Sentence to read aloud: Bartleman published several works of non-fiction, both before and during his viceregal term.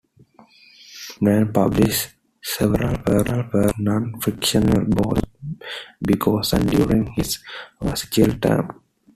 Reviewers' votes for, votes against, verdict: 0, 2, rejected